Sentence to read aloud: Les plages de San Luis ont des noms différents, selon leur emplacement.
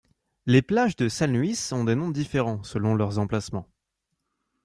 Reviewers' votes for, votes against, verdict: 1, 2, rejected